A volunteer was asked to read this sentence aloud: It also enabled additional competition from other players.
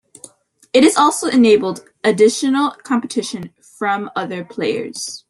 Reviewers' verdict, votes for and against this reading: rejected, 1, 2